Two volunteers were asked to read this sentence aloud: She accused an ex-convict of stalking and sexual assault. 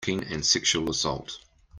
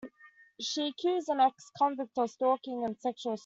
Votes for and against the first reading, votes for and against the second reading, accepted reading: 0, 2, 2, 1, second